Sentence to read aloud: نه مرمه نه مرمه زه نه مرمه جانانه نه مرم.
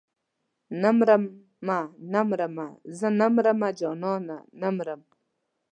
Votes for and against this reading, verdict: 2, 0, accepted